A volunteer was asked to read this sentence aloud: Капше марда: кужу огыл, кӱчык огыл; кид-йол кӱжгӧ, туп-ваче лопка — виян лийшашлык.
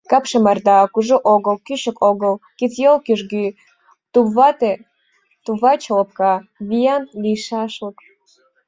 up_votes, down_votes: 1, 2